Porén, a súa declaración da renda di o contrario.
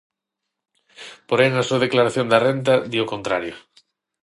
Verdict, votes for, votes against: rejected, 3, 6